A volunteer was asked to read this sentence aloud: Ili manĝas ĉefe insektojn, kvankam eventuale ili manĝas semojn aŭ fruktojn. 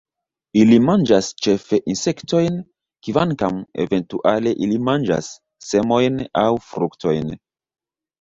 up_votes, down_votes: 1, 2